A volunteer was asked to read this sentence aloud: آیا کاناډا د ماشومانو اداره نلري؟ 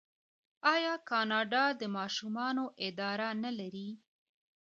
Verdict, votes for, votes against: accepted, 2, 1